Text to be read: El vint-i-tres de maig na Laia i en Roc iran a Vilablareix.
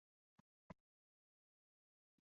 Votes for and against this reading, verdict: 0, 2, rejected